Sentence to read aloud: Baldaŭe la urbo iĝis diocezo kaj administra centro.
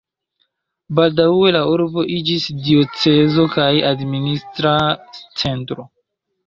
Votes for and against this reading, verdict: 2, 0, accepted